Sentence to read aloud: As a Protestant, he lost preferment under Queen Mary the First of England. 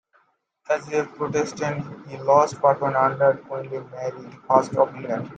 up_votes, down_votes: 0, 2